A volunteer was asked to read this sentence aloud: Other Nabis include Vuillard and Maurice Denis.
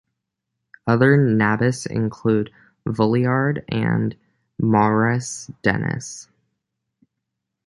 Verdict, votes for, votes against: accepted, 2, 0